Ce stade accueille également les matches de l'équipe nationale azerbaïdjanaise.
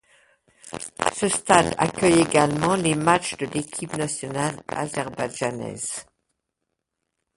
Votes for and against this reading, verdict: 0, 2, rejected